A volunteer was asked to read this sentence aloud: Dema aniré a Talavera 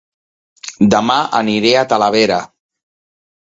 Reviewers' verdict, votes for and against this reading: accepted, 2, 0